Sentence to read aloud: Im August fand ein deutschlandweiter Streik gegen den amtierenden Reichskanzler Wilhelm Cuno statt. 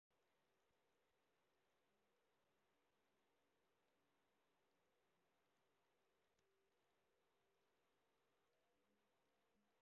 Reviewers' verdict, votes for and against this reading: rejected, 0, 2